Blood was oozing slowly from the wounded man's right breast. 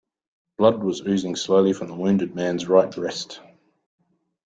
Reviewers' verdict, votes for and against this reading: accepted, 2, 0